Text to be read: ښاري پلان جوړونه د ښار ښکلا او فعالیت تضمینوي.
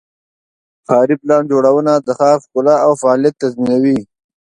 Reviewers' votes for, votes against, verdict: 2, 0, accepted